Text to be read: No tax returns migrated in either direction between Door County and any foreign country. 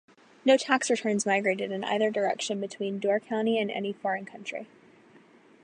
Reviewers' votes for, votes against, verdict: 4, 0, accepted